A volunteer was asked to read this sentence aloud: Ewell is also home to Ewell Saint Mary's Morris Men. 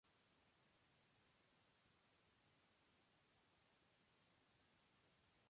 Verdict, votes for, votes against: rejected, 0, 3